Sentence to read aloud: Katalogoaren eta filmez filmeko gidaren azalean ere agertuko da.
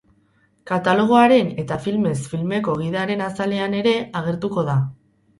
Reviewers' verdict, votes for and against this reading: rejected, 2, 2